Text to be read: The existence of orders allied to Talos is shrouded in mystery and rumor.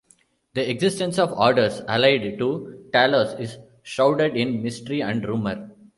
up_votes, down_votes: 2, 1